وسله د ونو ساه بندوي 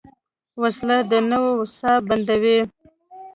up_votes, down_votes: 1, 2